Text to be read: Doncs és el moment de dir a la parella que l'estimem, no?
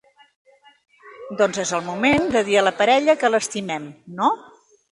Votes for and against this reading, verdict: 3, 0, accepted